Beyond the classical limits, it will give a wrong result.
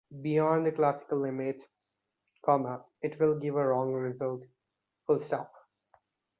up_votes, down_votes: 1, 2